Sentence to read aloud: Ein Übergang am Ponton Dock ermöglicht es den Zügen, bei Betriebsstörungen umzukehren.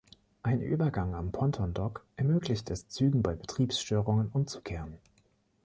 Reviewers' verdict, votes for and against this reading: rejected, 2, 3